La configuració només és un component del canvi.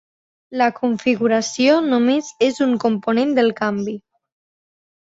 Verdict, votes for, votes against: accepted, 2, 0